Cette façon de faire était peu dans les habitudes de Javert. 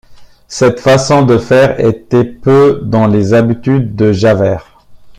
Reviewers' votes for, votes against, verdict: 2, 0, accepted